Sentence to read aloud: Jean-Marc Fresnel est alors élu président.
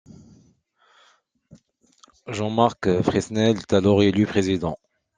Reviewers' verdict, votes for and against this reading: rejected, 1, 2